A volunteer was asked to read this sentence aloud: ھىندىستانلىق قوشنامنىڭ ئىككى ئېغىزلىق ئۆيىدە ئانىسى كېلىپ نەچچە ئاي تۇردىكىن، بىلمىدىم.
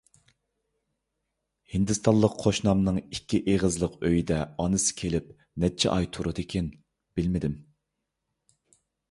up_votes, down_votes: 2, 0